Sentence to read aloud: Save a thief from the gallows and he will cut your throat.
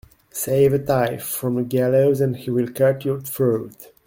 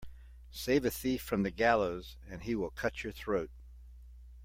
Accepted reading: second